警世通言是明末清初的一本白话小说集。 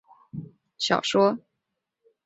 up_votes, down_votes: 1, 2